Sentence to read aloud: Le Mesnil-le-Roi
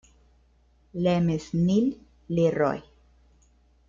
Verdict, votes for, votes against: rejected, 0, 2